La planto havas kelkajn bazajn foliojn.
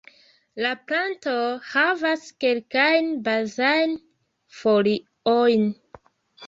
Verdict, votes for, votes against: rejected, 0, 2